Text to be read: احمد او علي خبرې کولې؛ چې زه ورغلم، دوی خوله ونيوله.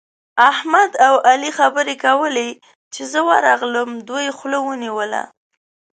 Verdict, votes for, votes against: accepted, 5, 1